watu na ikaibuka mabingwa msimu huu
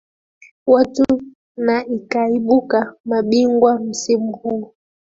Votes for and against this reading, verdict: 0, 2, rejected